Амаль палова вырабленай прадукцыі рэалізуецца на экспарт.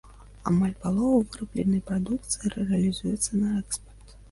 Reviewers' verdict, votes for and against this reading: rejected, 1, 2